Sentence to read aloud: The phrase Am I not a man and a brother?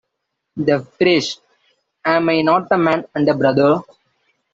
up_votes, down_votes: 1, 2